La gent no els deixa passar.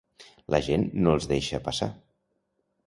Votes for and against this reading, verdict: 2, 0, accepted